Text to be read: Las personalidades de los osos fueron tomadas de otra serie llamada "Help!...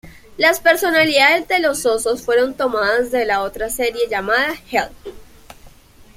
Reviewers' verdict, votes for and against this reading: rejected, 0, 2